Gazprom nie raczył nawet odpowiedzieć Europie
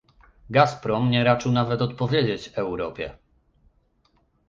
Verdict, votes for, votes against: accepted, 2, 0